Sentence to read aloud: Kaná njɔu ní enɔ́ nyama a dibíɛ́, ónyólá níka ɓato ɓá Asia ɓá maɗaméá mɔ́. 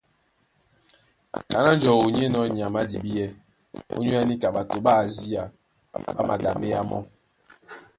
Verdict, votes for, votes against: rejected, 1, 2